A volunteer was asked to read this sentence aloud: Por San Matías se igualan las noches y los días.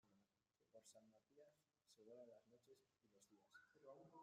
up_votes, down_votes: 0, 2